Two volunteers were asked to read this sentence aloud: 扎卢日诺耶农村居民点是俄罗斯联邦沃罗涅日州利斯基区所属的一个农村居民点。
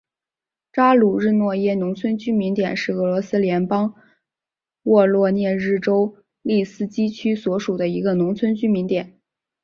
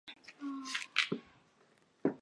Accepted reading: first